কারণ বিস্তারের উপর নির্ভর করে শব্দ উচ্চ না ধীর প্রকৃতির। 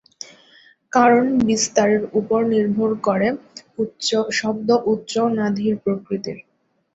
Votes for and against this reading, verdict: 1, 2, rejected